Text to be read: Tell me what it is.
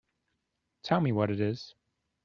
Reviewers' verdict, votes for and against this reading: accepted, 2, 1